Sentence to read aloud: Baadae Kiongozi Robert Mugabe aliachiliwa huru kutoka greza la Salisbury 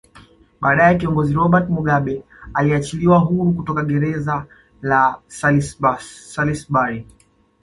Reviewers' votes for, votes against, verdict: 2, 1, accepted